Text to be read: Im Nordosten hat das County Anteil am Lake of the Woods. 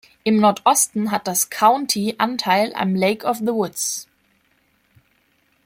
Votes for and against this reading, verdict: 2, 0, accepted